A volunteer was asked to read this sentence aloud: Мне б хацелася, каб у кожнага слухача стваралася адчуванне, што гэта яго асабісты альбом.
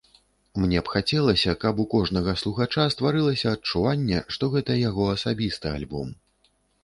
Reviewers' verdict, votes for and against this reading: rejected, 0, 2